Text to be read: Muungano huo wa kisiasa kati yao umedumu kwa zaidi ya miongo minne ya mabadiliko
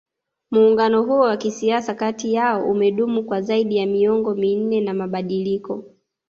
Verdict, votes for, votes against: rejected, 0, 2